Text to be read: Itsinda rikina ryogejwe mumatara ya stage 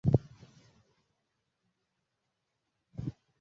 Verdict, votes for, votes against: rejected, 0, 2